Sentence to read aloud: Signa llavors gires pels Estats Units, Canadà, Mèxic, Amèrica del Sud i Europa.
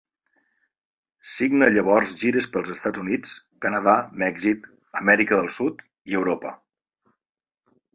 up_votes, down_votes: 2, 0